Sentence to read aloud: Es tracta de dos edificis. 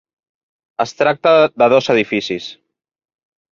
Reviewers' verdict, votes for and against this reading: accepted, 3, 0